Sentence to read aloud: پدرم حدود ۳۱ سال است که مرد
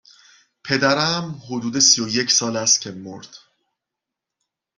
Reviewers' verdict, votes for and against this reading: rejected, 0, 2